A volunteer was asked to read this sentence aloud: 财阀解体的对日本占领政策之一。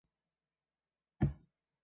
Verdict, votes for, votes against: rejected, 1, 4